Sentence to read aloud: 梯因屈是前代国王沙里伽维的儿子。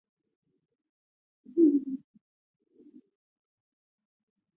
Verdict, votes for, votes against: rejected, 0, 3